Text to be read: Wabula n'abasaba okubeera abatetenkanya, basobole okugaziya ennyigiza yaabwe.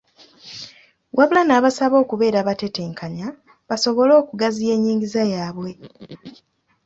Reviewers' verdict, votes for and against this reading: accepted, 2, 0